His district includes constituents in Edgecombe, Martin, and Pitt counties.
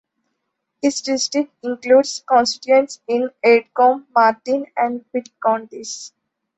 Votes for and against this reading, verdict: 2, 0, accepted